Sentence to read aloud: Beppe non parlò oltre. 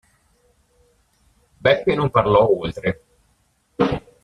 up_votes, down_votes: 1, 2